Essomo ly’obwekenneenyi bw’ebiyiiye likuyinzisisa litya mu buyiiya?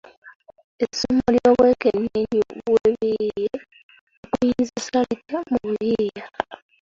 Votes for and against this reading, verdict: 0, 2, rejected